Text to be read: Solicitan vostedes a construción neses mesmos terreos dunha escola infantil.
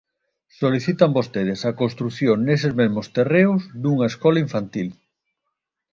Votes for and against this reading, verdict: 2, 0, accepted